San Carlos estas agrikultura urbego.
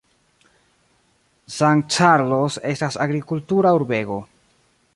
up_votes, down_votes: 2, 0